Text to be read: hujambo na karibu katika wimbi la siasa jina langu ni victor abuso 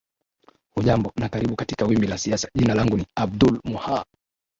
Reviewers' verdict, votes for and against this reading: rejected, 0, 2